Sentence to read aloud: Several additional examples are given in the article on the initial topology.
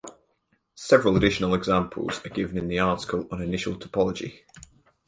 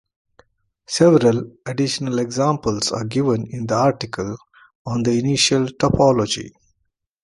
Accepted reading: second